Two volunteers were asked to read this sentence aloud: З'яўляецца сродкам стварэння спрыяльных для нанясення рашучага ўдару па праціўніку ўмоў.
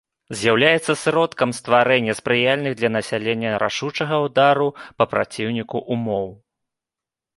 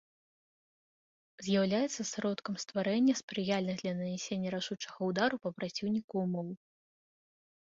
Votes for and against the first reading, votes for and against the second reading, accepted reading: 0, 2, 2, 1, second